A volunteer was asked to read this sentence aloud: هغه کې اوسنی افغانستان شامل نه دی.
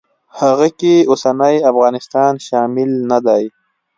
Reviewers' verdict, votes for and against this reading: accepted, 2, 1